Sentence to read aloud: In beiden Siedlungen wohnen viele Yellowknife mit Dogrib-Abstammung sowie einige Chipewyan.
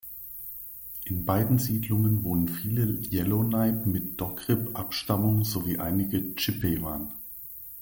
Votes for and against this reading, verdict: 0, 2, rejected